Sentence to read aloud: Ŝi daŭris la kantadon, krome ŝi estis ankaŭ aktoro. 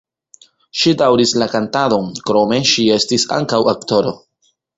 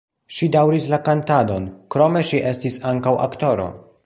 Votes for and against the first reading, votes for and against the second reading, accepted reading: 1, 2, 2, 0, second